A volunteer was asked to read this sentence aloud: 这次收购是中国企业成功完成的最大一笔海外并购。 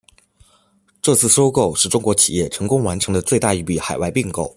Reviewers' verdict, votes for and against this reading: accepted, 2, 0